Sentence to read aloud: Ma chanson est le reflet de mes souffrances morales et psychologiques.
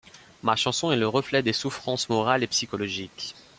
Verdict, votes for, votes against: rejected, 1, 2